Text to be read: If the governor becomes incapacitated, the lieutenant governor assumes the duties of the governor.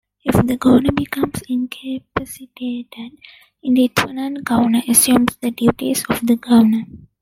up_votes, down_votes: 1, 2